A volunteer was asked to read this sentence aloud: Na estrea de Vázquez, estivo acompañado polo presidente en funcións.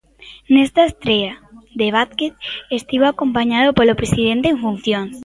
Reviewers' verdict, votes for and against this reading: rejected, 1, 2